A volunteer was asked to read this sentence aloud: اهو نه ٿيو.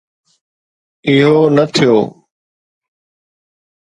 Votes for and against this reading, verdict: 2, 0, accepted